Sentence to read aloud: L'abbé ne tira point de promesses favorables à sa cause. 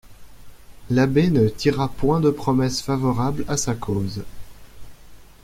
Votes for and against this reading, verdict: 2, 0, accepted